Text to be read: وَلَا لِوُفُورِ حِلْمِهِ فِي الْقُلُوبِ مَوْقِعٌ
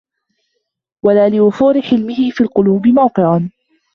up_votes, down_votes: 0, 2